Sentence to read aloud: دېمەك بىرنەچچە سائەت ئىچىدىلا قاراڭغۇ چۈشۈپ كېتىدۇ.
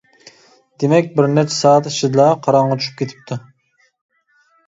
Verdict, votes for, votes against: rejected, 0, 2